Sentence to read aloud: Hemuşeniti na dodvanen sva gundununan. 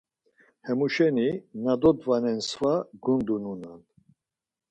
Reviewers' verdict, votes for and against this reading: rejected, 2, 4